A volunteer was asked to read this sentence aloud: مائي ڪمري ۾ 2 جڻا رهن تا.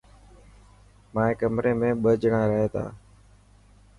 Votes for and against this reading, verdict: 0, 2, rejected